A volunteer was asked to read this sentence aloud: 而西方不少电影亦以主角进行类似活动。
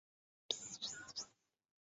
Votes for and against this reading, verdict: 0, 4, rejected